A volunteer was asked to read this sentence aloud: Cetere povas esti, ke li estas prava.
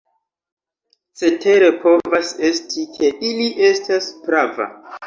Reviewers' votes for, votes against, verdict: 2, 1, accepted